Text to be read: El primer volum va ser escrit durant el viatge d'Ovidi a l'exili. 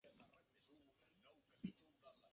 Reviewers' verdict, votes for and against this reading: rejected, 0, 2